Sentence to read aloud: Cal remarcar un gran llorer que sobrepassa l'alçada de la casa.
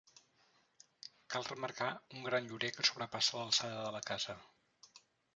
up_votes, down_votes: 0, 2